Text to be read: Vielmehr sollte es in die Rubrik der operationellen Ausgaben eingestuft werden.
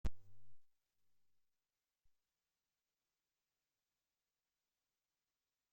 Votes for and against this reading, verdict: 0, 2, rejected